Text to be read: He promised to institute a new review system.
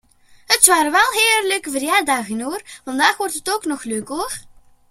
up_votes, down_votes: 2, 3